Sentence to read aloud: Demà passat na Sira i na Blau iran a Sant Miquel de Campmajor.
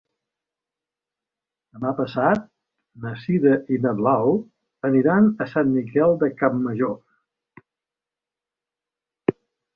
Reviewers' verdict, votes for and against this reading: rejected, 1, 2